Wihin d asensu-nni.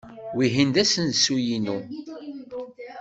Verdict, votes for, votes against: rejected, 2, 3